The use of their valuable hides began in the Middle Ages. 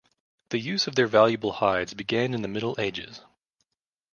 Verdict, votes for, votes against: accepted, 2, 0